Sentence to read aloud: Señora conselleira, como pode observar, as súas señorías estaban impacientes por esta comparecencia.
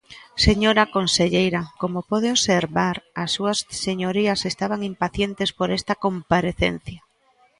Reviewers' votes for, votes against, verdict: 2, 1, accepted